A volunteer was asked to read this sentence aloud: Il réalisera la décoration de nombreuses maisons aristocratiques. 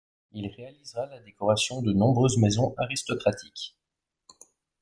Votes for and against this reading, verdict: 0, 2, rejected